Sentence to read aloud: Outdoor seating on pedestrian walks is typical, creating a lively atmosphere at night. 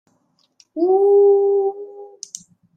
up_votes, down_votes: 1, 2